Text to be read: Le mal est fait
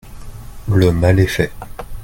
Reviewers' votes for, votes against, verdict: 0, 2, rejected